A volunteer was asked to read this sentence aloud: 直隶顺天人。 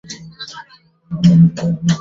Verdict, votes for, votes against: rejected, 1, 2